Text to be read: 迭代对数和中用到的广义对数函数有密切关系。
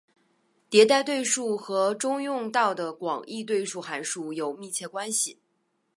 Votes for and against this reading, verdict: 2, 1, accepted